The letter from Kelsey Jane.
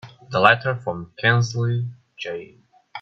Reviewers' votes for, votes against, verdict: 1, 2, rejected